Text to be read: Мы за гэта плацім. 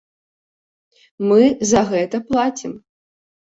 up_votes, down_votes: 2, 0